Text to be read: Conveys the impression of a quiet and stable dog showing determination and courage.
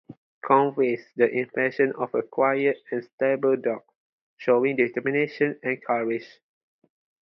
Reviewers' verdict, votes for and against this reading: accepted, 4, 0